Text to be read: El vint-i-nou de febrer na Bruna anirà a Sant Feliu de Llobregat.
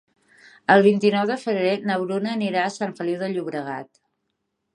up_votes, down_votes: 3, 0